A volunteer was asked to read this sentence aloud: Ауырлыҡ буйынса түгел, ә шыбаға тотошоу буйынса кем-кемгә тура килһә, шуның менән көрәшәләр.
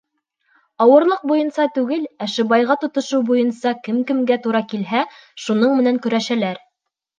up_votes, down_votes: 2, 1